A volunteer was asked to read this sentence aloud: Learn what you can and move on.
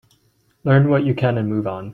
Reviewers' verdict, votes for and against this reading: accepted, 2, 1